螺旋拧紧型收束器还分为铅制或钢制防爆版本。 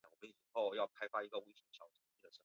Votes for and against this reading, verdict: 1, 5, rejected